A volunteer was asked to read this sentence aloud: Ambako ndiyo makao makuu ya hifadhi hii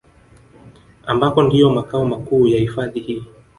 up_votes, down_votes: 2, 0